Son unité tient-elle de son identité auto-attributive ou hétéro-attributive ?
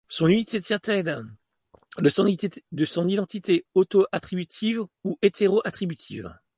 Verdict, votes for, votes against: rejected, 1, 2